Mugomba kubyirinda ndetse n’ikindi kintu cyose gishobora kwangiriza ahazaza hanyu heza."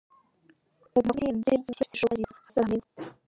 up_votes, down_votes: 0, 2